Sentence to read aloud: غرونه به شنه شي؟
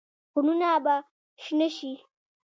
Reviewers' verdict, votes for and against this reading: accepted, 2, 0